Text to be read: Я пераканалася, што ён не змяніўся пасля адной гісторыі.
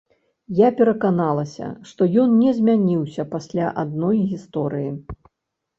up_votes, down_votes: 3, 0